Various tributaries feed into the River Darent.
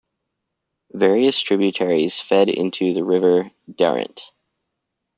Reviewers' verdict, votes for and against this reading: rejected, 0, 2